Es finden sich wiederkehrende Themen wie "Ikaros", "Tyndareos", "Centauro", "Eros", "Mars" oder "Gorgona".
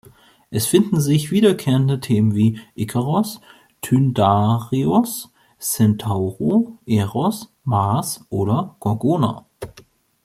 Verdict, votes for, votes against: accepted, 2, 1